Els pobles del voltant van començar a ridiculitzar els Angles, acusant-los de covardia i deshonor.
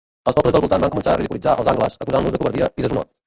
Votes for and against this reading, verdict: 0, 2, rejected